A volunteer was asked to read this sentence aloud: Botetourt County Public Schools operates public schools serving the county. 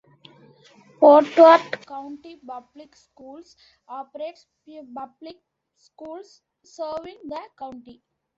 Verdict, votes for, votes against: rejected, 0, 2